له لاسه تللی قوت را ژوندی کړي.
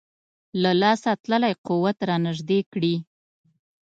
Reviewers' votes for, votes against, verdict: 1, 2, rejected